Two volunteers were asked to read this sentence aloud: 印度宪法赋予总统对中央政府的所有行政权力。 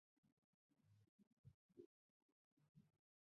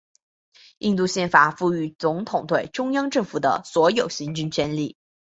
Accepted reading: second